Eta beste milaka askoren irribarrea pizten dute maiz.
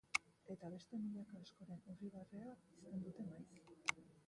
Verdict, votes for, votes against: rejected, 1, 3